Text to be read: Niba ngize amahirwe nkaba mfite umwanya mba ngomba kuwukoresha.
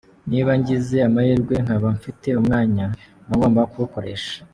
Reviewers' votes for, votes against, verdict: 2, 0, accepted